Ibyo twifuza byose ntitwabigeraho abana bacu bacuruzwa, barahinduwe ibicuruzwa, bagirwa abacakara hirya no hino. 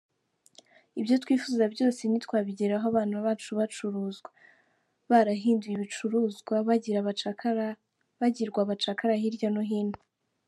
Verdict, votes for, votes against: rejected, 0, 2